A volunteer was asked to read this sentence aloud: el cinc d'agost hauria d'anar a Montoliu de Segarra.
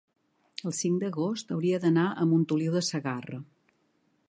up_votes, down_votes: 3, 0